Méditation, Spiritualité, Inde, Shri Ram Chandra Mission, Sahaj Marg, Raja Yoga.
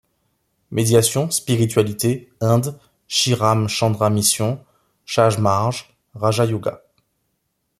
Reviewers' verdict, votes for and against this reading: rejected, 1, 2